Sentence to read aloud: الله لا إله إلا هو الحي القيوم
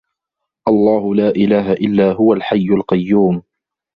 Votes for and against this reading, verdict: 1, 2, rejected